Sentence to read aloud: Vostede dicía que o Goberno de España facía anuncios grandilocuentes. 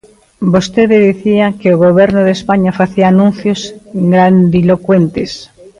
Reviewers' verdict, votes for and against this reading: rejected, 0, 2